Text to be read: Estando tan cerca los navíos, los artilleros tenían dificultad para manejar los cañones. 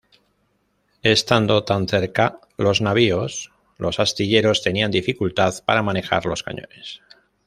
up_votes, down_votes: 0, 2